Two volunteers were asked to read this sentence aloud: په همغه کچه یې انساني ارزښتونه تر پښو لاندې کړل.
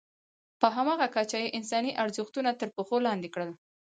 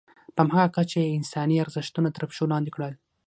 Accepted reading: first